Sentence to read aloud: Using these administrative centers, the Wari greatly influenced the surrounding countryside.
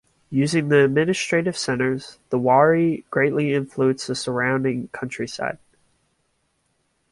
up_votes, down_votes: 1, 2